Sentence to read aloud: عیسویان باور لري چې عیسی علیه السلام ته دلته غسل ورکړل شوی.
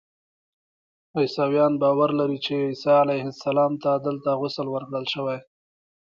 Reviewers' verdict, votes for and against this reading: accepted, 2, 0